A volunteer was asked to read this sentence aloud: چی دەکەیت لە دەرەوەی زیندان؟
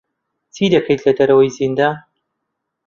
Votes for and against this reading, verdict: 2, 0, accepted